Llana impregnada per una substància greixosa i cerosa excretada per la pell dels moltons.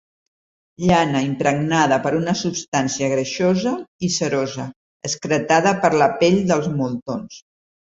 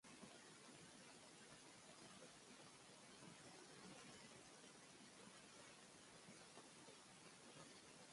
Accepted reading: first